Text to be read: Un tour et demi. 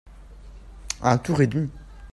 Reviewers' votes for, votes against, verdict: 0, 2, rejected